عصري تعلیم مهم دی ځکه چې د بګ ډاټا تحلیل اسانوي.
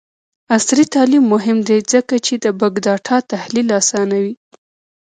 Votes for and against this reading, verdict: 0, 2, rejected